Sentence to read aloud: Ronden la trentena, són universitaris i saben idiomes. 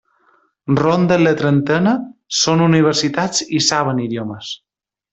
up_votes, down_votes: 0, 2